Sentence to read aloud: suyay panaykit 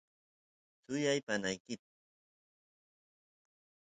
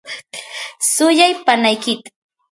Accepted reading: first